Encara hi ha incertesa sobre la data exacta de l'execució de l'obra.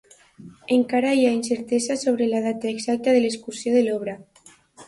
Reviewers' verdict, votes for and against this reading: rejected, 0, 2